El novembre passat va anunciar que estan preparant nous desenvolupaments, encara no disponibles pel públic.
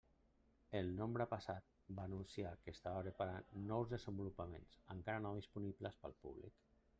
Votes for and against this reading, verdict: 1, 2, rejected